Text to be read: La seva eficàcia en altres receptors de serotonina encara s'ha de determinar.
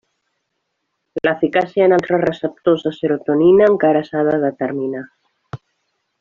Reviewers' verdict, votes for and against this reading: rejected, 0, 2